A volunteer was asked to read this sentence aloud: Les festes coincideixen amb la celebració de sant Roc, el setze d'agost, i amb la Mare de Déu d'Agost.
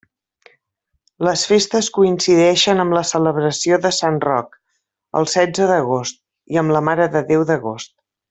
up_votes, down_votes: 2, 0